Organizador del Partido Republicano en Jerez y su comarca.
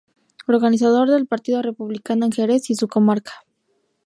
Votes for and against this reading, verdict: 0, 2, rejected